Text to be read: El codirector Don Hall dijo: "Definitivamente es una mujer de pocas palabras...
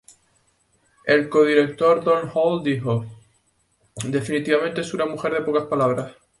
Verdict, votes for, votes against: accepted, 4, 0